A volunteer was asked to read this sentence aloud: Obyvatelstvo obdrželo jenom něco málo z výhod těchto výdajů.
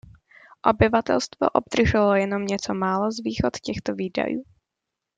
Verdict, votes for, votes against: accepted, 2, 1